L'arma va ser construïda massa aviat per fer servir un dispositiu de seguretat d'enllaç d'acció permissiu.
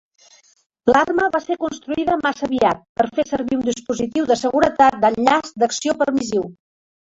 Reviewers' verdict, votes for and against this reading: rejected, 1, 2